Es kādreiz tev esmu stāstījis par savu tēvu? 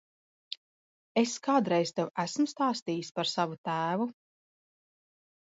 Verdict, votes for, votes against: accepted, 2, 0